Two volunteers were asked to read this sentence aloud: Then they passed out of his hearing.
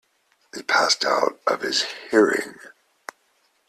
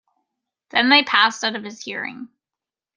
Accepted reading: second